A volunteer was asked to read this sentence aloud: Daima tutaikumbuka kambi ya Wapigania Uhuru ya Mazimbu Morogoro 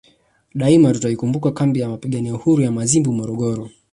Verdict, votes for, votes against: accepted, 2, 0